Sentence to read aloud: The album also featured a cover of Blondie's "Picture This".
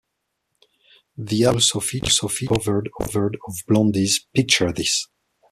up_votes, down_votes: 0, 2